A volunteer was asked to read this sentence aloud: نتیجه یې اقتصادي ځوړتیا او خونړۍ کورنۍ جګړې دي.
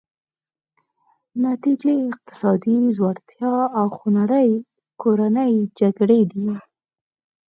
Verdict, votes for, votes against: accepted, 4, 0